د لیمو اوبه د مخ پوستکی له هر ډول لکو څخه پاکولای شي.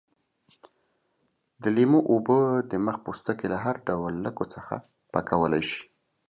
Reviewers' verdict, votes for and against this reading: accepted, 2, 1